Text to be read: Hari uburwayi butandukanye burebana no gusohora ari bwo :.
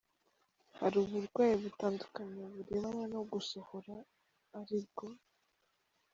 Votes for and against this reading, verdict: 0, 2, rejected